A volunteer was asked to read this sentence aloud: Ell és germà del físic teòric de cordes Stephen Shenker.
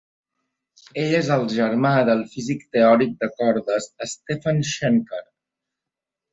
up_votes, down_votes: 1, 2